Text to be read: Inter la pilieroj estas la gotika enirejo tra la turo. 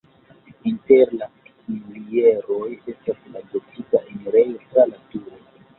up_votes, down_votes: 2, 0